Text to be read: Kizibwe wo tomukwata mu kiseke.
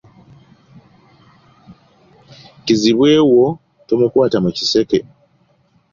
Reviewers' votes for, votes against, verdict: 3, 0, accepted